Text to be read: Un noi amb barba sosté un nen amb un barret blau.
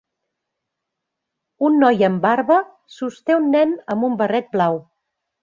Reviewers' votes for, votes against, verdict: 3, 0, accepted